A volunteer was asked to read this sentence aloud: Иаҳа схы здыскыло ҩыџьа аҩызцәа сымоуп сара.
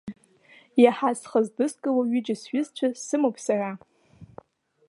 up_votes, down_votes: 0, 3